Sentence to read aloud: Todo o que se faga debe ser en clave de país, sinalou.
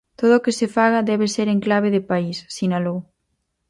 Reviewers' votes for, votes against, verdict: 4, 0, accepted